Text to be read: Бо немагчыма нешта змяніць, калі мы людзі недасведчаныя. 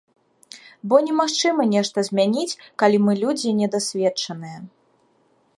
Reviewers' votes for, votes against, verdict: 2, 0, accepted